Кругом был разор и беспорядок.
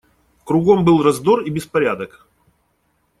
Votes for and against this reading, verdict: 1, 2, rejected